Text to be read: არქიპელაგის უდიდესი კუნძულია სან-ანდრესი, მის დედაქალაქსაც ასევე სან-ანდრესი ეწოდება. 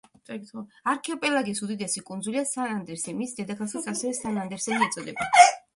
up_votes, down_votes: 1, 2